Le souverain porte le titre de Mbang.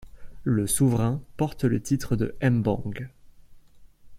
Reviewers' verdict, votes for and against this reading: accepted, 2, 0